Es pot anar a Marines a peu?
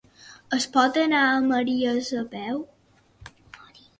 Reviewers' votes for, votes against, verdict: 0, 2, rejected